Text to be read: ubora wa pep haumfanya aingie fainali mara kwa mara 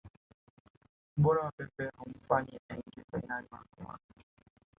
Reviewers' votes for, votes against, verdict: 1, 2, rejected